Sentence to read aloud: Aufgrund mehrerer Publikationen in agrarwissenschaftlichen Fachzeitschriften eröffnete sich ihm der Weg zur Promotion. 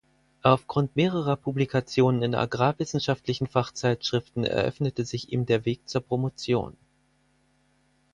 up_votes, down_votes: 4, 0